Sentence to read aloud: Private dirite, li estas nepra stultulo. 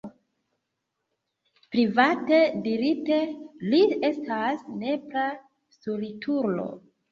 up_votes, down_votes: 2, 0